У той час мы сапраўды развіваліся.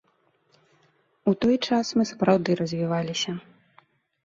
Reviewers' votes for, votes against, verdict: 2, 0, accepted